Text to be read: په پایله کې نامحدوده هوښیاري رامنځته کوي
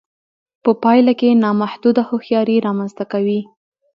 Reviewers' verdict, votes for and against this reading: accepted, 2, 0